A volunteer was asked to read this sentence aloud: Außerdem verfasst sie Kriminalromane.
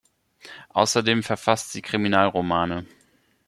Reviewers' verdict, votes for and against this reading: accepted, 2, 0